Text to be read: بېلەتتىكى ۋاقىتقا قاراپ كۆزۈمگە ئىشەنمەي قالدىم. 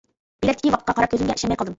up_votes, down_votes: 0, 2